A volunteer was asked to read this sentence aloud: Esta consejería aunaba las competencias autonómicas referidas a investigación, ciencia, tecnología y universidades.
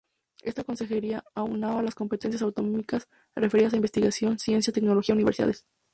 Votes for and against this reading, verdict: 0, 2, rejected